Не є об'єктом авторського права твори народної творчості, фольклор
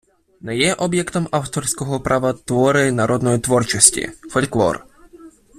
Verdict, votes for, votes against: accepted, 2, 1